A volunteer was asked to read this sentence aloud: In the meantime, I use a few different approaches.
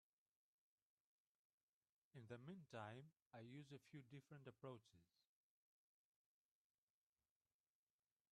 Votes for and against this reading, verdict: 0, 2, rejected